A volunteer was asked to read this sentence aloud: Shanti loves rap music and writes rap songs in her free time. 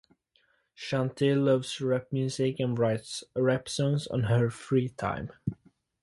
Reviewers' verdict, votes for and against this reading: accepted, 4, 0